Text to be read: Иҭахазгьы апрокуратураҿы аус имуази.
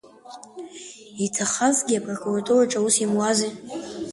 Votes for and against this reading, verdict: 2, 0, accepted